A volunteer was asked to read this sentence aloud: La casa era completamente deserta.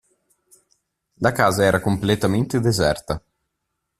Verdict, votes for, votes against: accepted, 2, 0